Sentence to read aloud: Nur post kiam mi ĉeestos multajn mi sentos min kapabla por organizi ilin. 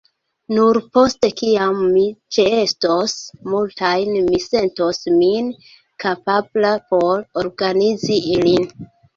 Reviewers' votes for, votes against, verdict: 1, 2, rejected